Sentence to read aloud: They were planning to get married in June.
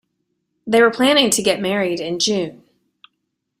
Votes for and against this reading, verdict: 2, 0, accepted